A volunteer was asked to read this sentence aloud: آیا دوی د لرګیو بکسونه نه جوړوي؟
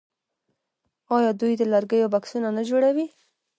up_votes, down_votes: 2, 0